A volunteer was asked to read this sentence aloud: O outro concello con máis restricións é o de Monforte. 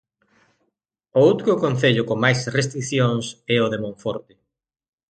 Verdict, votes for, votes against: accepted, 2, 0